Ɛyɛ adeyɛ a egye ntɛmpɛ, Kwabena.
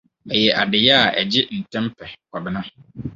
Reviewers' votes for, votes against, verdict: 2, 2, rejected